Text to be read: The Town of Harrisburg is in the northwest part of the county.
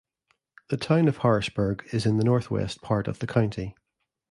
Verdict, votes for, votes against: accepted, 2, 0